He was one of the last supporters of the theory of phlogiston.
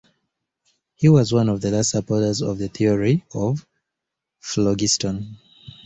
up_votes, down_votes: 2, 0